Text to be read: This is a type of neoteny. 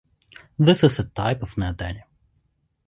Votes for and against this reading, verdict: 2, 1, accepted